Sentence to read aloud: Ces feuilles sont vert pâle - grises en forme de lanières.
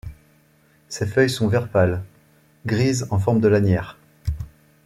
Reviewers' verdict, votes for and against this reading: accepted, 2, 0